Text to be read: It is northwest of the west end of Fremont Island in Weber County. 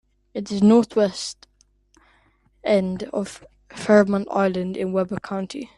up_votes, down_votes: 0, 2